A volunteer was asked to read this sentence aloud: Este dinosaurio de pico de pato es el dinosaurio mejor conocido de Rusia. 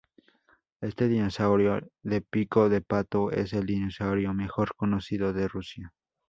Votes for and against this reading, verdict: 2, 0, accepted